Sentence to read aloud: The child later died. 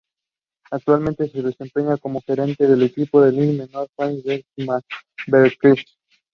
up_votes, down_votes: 0, 2